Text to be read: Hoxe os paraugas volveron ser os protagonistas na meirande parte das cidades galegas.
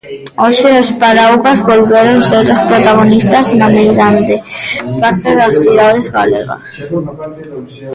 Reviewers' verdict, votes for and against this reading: rejected, 1, 2